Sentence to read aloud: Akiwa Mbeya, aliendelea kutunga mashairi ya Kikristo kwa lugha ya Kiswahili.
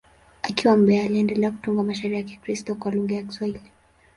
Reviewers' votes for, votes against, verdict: 2, 0, accepted